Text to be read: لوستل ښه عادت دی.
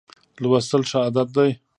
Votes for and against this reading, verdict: 2, 1, accepted